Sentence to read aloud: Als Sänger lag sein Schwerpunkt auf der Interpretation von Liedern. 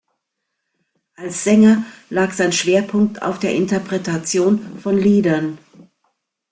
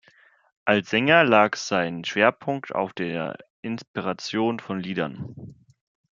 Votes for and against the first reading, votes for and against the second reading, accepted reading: 2, 0, 0, 2, first